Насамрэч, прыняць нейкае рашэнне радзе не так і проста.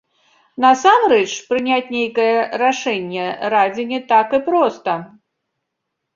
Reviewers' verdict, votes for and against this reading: rejected, 1, 2